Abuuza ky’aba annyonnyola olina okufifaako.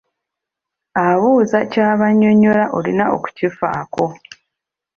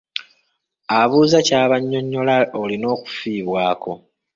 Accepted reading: first